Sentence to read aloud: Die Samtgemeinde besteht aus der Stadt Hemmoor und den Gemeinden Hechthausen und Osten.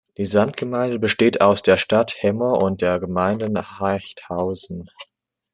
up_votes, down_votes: 0, 2